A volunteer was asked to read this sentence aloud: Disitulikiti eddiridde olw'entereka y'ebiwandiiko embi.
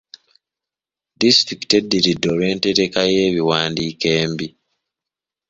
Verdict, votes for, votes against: accepted, 4, 1